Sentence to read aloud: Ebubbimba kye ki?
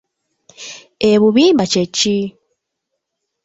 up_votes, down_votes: 1, 2